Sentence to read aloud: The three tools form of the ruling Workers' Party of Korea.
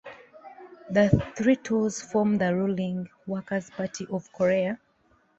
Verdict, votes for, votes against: accepted, 2, 0